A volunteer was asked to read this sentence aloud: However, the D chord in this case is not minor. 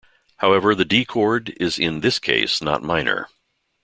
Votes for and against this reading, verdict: 0, 2, rejected